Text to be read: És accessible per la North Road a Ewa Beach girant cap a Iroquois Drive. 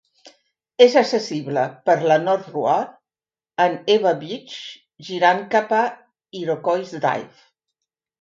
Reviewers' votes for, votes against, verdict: 0, 2, rejected